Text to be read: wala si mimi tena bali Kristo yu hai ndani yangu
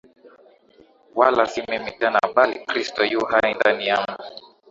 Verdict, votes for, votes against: accepted, 10, 4